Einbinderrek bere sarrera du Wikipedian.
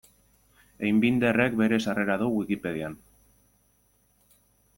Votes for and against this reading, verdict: 2, 0, accepted